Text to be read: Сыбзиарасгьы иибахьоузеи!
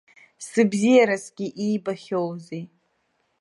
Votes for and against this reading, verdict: 2, 0, accepted